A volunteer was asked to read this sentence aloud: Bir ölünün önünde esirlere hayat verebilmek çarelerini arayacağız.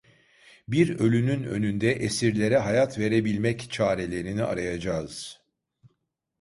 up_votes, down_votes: 2, 0